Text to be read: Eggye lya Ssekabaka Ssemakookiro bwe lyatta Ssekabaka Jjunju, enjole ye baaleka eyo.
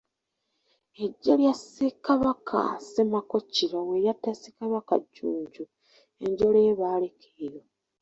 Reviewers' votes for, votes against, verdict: 1, 2, rejected